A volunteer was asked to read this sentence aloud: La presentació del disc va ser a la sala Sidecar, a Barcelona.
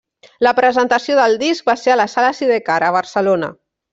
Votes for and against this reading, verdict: 3, 0, accepted